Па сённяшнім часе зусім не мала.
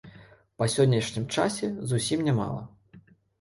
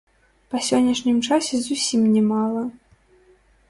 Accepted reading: first